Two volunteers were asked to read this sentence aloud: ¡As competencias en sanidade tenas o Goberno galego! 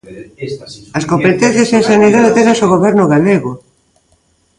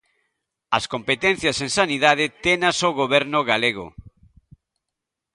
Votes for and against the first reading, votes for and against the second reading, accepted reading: 1, 2, 2, 0, second